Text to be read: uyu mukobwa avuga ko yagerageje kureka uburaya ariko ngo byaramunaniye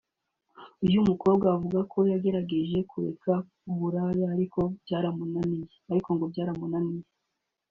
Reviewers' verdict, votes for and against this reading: rejected, 1, 2